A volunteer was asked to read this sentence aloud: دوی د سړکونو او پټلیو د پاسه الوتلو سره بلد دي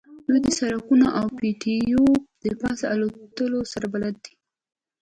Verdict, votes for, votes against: rejected, 1, 2